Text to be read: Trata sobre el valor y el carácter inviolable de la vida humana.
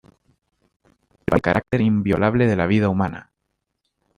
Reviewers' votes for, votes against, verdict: 0, 2, rejected